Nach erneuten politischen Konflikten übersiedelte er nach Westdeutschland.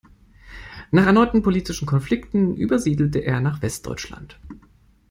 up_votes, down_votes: 2, 0